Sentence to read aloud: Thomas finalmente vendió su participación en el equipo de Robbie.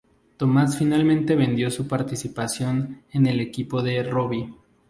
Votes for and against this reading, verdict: 2, 0, accepted